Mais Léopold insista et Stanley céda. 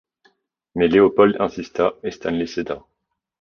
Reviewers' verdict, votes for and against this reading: accepted, 2, 0